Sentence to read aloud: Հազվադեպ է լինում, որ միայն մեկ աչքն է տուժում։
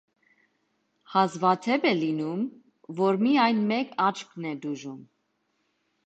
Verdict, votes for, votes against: accepted, 2, 0